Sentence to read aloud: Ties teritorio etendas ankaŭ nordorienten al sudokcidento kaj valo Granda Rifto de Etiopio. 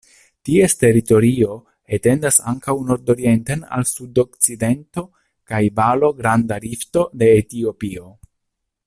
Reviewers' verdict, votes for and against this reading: accepted, 2, 0